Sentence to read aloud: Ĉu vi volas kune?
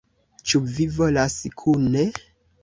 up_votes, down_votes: 2, 0